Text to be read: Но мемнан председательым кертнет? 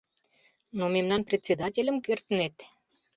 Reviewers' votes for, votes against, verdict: 2, 0, accepted